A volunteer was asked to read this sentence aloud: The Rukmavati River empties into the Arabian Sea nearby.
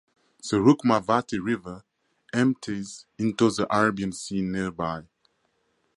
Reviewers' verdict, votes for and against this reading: rejected, 0, 2